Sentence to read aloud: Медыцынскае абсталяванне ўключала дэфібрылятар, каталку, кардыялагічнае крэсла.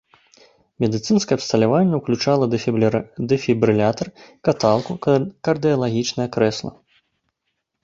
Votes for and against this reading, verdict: 0, 2, rejected